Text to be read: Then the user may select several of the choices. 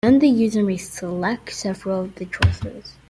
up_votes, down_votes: 1, 2